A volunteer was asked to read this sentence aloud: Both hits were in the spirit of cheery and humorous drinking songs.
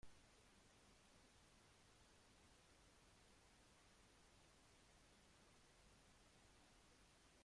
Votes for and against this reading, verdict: 0, 2, rejected